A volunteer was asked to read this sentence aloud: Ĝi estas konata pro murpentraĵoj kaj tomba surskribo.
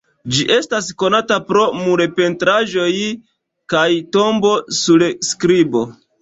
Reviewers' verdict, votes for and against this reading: rejected, 2, 3